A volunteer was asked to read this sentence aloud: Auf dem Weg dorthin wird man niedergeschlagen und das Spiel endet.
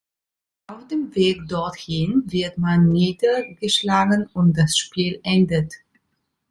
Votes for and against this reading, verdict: 3, 1, accepted